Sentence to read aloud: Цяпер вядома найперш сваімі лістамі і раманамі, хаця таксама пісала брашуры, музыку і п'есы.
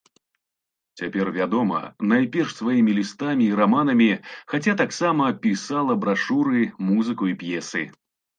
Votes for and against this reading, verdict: 2, 1, accepted